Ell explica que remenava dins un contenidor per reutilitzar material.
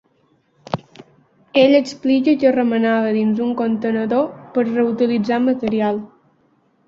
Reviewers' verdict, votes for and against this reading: accepted, 2, 0